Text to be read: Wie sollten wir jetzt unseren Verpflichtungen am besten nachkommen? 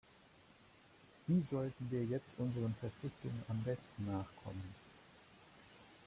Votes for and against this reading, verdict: 2, 1, accepted